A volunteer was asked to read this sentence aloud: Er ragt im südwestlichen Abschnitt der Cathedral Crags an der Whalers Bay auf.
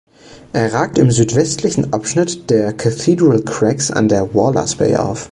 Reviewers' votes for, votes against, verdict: 1, 2, rejected